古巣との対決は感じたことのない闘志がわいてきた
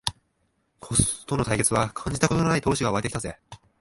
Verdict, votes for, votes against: rejected, 0, 2